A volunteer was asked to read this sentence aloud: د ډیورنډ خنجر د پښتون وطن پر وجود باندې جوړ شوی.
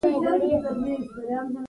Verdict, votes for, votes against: rejected, 0, 2